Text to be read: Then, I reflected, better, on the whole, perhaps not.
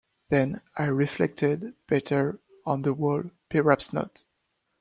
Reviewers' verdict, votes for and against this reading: rejected, 1, 2